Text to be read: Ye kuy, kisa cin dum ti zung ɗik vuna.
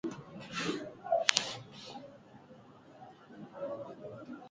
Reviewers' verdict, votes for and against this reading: rejected, 0, 2